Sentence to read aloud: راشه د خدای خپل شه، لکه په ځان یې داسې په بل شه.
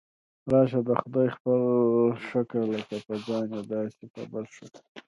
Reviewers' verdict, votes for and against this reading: rejected, 0, 2